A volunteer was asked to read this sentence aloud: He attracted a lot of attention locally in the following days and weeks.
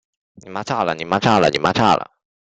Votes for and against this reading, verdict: 0, 3, rejected